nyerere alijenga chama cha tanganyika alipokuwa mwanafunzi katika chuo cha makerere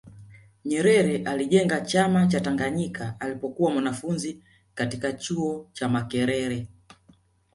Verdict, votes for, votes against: accepted, 2, 0